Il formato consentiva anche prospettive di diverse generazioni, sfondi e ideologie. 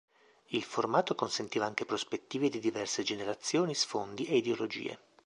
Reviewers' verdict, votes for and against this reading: accepted, 2, 0